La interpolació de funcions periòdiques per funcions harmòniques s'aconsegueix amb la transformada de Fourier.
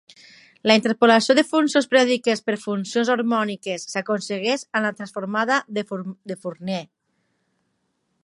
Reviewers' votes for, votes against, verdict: 1, 5, rejected